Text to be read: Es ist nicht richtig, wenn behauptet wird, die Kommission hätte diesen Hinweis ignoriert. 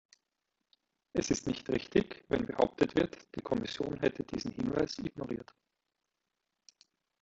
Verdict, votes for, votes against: accepted, 2, 1